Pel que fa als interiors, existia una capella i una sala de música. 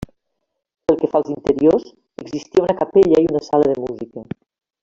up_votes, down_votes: 1, 2